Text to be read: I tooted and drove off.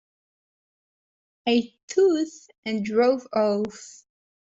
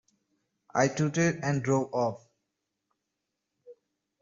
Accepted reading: second